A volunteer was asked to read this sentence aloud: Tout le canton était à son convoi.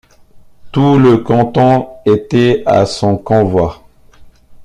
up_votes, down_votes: 2, 1